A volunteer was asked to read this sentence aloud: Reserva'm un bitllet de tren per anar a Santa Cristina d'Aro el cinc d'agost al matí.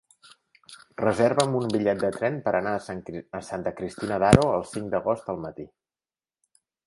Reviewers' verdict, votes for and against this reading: rejected, 2, 4